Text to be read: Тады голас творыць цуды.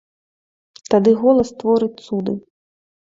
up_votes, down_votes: 2, 0